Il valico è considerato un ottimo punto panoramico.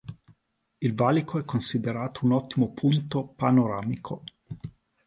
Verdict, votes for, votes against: accepted, 2, 0